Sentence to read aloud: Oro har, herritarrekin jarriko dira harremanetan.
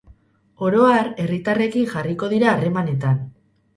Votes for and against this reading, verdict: 4, 0, accepted